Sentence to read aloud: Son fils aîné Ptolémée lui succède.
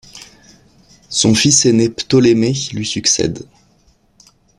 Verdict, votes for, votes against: accepted, 2, 0